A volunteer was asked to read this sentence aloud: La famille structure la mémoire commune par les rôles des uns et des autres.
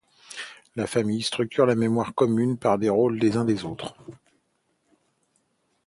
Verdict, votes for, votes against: rejected, 1, 2